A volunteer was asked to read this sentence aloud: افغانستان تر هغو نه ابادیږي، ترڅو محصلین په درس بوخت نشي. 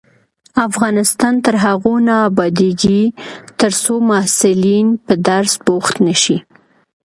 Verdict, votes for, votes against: accepted, 2, 0